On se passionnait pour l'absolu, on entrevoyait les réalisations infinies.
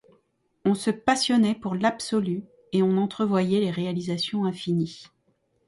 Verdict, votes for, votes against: rejected, 1, 2